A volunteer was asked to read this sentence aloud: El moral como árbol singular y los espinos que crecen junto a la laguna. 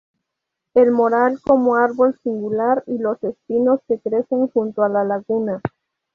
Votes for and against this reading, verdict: 2, 0, accepted